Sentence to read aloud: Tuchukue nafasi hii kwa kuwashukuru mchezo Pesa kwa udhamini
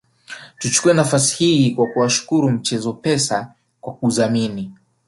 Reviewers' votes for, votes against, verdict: 3, 1, accepted